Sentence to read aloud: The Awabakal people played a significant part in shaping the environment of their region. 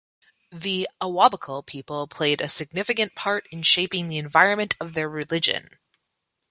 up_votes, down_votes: 1, 2